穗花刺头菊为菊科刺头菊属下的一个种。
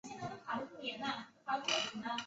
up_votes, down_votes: 0, 5